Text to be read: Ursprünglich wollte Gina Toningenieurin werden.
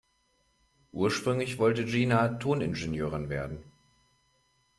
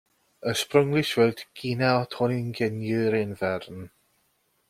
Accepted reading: first